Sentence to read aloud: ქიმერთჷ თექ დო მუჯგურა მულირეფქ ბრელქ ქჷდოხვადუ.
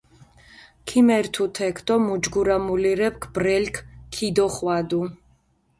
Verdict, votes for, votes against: rejected, 0, 2